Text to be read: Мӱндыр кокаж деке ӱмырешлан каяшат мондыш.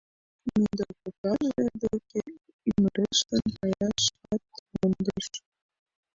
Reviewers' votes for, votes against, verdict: 0, 2, rejected